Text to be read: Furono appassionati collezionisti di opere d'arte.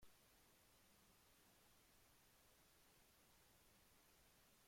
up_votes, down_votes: 0, 2